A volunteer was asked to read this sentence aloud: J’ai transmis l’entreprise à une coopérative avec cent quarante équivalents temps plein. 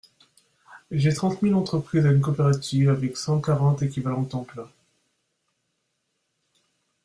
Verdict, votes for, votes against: accepted, 2, 0